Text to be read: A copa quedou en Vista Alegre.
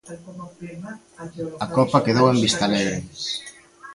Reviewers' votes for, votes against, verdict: 1, 2, rejected